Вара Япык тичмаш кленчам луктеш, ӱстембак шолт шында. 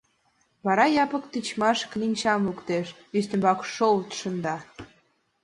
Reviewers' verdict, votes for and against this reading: accepted, 2, 0